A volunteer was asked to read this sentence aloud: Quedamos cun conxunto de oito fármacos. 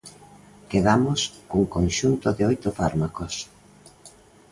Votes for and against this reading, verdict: 2, 0, accepted